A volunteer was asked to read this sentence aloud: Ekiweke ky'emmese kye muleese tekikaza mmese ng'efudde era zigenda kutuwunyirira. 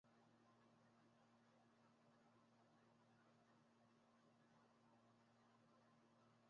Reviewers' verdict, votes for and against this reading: rejected, 0, 2